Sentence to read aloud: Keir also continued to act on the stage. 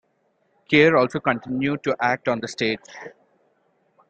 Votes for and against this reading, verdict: 2, 0, accepted